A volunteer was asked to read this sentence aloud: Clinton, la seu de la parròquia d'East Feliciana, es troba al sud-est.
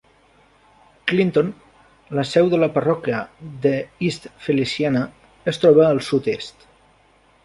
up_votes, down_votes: 1, 2